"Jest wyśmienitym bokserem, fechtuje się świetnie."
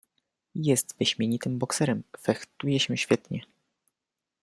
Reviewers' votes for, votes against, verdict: 2, 1, accepted